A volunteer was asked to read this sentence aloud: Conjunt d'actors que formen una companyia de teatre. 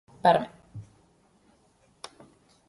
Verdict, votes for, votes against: rejected, 1, 2